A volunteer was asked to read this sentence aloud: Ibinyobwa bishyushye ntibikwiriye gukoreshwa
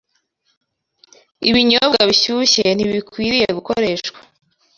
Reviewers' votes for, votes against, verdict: 2, 0, accepted